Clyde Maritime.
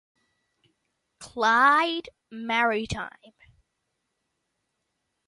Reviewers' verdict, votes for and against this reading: rejected, 0, 2